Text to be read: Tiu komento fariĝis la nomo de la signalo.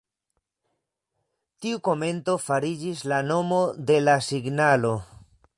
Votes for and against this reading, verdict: 2, 0, accepted